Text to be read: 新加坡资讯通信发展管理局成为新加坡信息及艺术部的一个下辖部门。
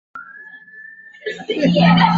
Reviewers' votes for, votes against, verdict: 0, 2, rejected